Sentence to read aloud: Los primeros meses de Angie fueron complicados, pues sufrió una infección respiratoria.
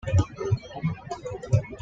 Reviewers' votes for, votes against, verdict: 1, 2, rejected